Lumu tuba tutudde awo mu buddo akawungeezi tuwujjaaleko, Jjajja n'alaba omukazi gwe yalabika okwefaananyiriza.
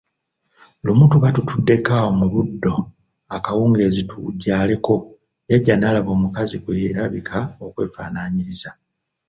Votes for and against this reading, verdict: 0, 2, rejected